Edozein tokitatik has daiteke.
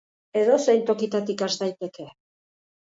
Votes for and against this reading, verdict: 3, 1, accepted